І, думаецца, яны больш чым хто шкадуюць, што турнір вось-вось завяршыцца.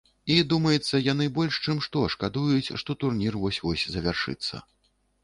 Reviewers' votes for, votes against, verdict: 1, 2, rejected